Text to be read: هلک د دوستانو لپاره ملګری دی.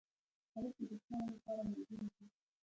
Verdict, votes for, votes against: rejected, 1, 2